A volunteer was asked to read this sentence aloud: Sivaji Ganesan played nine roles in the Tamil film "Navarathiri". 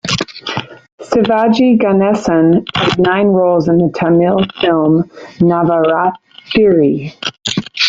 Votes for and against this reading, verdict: 1, 2, rejected